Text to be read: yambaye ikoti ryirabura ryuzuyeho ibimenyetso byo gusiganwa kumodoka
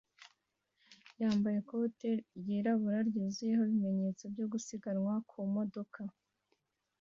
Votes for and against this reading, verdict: 2, 1, accepted